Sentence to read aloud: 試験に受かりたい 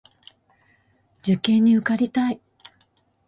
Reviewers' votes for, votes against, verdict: 1, 2, rejected